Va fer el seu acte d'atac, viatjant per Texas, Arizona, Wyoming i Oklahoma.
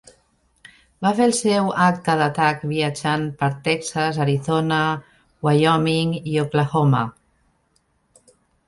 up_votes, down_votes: 2, 0